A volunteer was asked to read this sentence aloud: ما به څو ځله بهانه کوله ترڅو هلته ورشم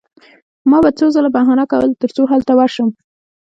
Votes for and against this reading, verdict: 0, 2, rejected